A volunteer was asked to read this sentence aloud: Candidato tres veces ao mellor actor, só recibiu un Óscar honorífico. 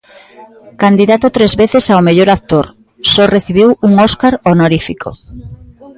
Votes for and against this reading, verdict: 0, 2, rejected